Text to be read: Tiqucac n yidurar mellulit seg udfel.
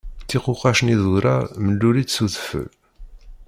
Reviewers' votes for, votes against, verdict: 0, 2, rejected